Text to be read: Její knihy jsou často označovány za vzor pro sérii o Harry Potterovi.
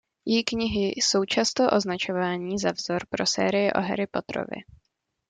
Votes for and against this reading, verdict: 1, 2, rejected